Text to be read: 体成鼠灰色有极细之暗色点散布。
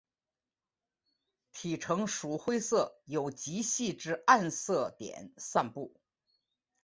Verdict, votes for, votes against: accepted, 6, 0